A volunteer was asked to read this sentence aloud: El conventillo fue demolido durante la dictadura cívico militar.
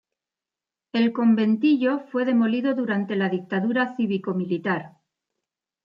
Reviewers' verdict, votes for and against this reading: rejected, 0, 2